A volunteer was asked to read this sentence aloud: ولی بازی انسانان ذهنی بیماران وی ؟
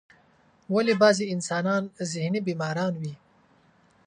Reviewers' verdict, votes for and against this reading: accepted, 2, 0